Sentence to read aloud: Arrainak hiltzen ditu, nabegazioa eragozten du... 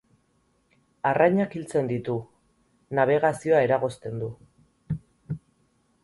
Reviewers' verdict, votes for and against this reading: accepted, 6, 0